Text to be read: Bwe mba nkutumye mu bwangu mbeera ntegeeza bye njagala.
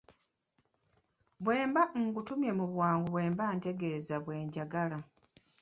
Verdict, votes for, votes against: rejected, 1, 2